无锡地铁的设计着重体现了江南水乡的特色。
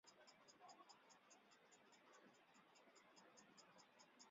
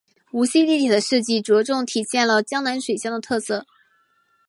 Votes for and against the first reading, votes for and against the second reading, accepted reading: 0, 3, 2, 0, second